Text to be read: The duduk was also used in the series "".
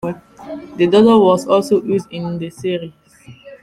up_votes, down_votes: 0, 2